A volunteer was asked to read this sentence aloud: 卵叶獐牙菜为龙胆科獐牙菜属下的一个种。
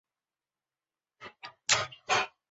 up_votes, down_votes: 0, 4